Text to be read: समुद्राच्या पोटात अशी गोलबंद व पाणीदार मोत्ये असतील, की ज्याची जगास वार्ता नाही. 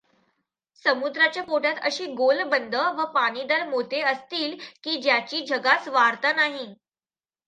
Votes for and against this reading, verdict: 2, 1, accepted